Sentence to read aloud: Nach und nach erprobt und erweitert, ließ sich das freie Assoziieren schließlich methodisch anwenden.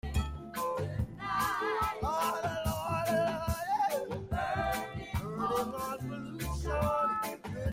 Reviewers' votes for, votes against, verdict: 0, 2, rejected